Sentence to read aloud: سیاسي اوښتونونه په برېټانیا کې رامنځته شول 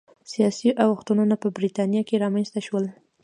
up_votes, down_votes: 1, 2